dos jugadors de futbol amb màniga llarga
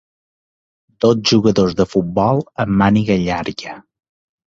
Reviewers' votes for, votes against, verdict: 2, 0, accepted